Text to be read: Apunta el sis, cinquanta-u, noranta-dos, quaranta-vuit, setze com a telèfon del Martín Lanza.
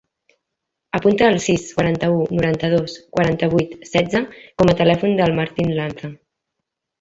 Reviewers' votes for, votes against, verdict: 0, 2, rejected